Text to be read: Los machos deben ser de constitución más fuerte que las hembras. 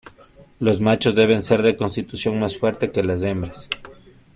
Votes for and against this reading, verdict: 2, 0, accepted